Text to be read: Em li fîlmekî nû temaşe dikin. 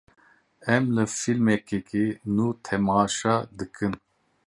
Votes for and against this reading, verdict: 0, 2, rejected